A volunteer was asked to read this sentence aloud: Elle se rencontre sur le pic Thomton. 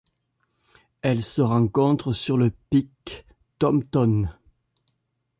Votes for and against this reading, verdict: 2, 0, accepted